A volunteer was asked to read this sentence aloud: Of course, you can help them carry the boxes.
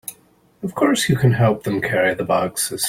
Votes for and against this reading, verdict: 2, 1, accepted